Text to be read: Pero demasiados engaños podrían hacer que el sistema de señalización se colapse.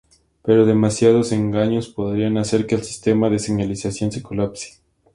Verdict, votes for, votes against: accepted, 2, 0